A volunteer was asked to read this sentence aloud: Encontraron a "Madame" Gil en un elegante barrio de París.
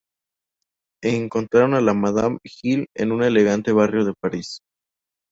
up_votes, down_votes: 0, 2